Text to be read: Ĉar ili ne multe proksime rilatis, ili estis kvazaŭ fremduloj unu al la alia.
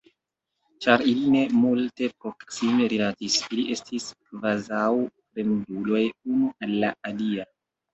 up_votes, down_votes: 1, 2